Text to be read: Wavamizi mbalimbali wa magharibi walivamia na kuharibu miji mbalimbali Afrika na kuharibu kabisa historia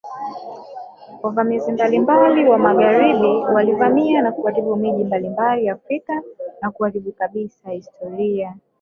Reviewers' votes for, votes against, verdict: 1, 2, rejected